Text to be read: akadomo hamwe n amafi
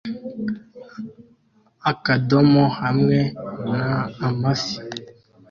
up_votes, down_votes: 2, 0